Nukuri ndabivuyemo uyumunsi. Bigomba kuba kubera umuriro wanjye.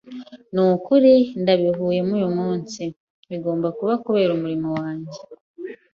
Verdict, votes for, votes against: rejected, 1, 2